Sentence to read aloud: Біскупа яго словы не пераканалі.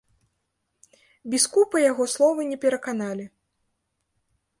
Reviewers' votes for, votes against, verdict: 0, 2, rejected